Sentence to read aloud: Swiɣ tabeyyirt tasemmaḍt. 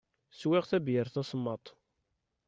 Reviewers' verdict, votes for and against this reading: accepted, 2, 0